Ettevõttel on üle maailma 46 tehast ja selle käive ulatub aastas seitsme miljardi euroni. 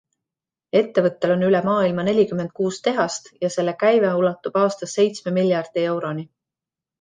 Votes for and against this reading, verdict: 0, 2, rejected